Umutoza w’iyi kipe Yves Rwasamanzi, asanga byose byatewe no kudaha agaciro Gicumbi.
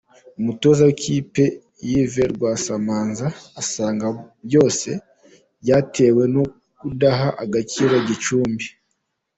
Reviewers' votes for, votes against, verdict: 0, 2, rejected